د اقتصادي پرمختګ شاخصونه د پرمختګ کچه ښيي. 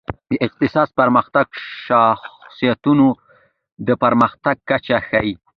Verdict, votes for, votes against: rejected, 1, 2